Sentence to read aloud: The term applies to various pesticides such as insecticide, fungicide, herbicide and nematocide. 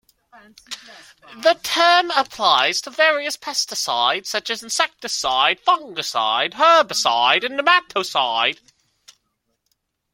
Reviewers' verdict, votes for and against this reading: rejected, 1, 2